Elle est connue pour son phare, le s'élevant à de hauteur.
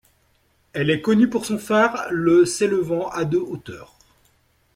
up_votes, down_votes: 2, 1